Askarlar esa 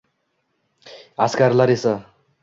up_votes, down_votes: 2, 0